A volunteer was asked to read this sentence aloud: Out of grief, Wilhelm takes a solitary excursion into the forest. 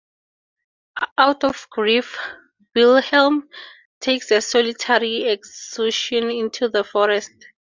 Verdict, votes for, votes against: accepted, 2, 0